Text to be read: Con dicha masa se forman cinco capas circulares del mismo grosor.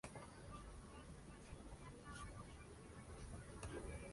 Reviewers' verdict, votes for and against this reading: rejected, 0, 2